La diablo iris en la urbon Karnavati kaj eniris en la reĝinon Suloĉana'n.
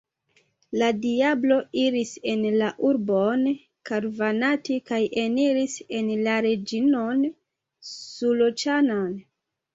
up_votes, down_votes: 0, 2